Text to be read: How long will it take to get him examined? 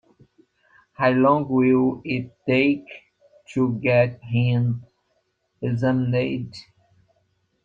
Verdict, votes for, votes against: rejected, 1, 2